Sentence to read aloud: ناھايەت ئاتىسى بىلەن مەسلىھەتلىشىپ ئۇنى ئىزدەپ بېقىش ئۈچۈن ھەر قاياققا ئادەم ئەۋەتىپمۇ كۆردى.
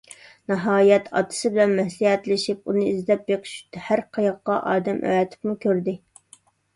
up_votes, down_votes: 0, 2